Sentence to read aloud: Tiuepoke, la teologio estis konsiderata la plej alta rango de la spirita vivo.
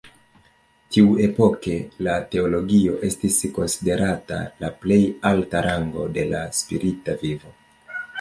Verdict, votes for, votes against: rejected, 1, 2